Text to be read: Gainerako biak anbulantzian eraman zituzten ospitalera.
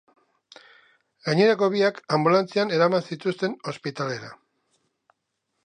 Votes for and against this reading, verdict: 3, 0, accepted